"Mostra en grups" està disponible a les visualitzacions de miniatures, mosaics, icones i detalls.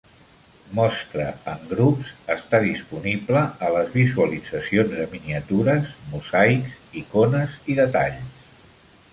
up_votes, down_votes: 3, 0